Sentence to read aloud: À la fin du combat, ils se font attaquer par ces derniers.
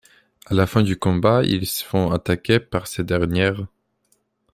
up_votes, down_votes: 1, 2